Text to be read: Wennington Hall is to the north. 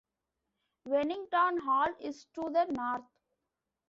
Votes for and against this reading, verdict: 2, 0, accepted